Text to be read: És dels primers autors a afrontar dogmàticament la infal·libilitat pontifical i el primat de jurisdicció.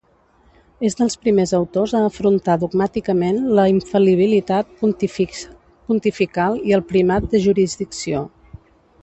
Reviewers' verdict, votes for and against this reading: rejected, 0, 2